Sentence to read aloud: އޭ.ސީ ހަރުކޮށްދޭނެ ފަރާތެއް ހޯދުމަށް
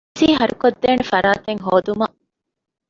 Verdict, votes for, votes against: rejected, 1, 2